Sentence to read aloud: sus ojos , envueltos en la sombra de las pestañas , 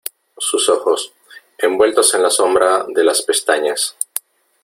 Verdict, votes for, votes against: accepted, 3, 0